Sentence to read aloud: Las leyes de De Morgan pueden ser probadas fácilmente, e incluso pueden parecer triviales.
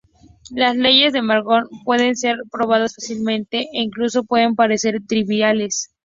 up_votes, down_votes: 2, 0